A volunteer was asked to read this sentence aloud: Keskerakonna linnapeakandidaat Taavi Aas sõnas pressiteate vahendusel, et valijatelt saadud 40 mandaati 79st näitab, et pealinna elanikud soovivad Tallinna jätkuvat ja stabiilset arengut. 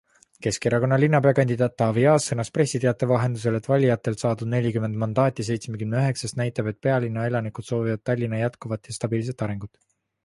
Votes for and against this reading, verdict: 0, 2, rejected